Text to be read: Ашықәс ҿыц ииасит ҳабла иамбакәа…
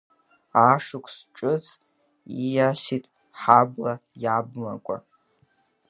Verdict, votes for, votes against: accepted, 3, 1